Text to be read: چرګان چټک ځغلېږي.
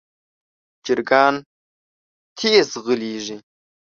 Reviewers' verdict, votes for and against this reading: rejected, 1, 2